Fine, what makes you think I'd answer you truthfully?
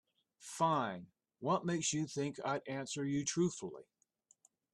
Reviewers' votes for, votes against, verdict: 2, 0, accepted